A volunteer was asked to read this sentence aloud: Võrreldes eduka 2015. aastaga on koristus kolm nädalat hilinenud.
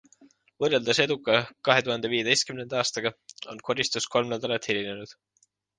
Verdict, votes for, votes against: rejected, 0, 2